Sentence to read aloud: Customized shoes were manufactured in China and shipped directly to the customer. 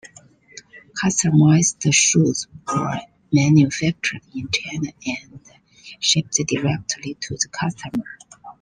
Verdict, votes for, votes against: rejected, 1, 2